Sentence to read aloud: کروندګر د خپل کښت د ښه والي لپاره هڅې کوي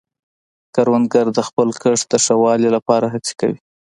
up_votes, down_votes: 2, 1